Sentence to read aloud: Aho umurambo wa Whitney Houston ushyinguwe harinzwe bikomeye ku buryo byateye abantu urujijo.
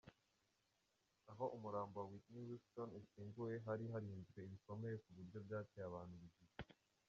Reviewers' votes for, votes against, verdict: 0, 2, rejected